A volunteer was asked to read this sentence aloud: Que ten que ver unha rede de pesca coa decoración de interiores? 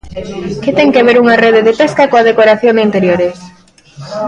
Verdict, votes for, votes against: accepted, 2, 0